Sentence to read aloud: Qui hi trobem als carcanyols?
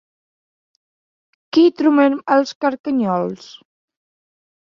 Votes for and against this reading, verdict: 0, 2, rejected